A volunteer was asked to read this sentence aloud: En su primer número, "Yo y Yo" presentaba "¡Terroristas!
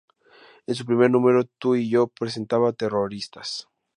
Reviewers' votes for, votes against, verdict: 0, 2, rejected